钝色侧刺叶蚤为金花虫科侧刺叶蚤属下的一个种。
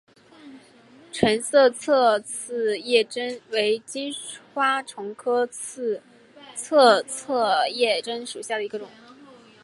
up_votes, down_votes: 1, 4